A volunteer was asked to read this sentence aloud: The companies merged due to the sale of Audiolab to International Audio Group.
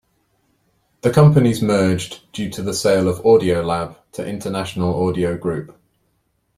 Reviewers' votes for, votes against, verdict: 2, 0, accepted